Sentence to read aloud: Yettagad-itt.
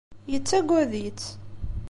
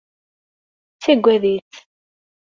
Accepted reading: first